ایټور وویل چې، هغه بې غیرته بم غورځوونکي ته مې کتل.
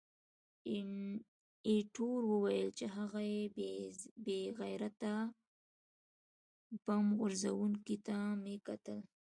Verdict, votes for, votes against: rejected, 1, 2